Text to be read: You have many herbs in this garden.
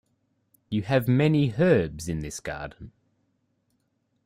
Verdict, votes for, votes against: accepted, 2, 0